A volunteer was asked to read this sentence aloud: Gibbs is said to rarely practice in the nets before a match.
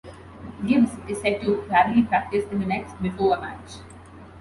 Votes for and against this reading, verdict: 1, 2, rejected